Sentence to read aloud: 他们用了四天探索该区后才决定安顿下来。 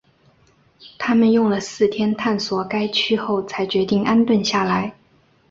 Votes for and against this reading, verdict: 2, 0, accepted